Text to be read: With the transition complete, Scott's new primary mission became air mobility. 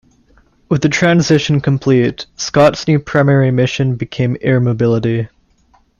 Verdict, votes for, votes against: accepted, 2, 0